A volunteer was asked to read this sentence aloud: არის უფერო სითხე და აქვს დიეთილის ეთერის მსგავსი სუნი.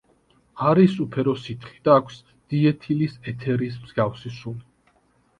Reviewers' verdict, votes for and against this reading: accepted, 3, 0